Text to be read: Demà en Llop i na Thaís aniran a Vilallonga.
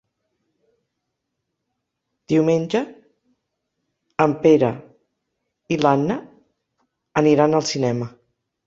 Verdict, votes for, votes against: rejected, 0, 2